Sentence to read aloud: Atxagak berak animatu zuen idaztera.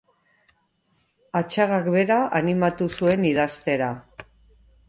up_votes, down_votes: 1, 2